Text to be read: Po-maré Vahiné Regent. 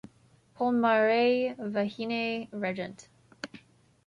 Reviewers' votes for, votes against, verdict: 2, 0, accepted